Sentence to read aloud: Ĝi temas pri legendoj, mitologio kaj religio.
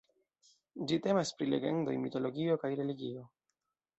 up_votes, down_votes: 2, 0